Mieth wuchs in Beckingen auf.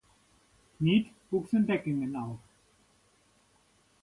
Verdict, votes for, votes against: accepted, 2, 0